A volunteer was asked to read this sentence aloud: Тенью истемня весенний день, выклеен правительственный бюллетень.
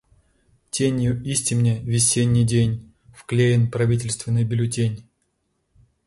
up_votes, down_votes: 0, 2